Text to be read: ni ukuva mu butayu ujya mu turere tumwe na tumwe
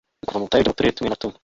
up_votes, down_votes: 1, 2